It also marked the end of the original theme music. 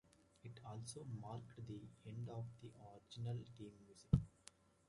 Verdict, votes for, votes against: rejected, 0, 2